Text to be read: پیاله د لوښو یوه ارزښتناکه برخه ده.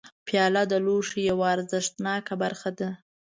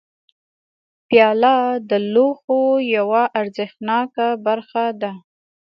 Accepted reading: second